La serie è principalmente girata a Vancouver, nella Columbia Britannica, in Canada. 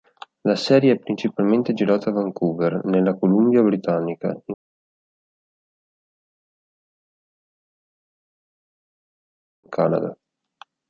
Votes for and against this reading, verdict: 1, 2, rejected